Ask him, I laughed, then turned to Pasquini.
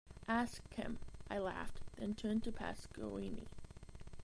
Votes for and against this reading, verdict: 1, 2, rejected